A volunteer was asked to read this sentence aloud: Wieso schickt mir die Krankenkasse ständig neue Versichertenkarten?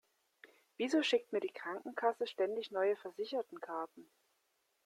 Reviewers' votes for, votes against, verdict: 2, 0, accepted